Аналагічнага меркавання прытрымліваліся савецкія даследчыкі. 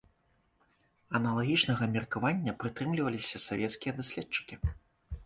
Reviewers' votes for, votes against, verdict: 2, 0, accepted